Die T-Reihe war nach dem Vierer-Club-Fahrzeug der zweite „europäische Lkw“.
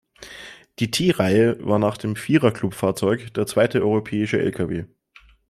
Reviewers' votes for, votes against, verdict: 2, 0, accepted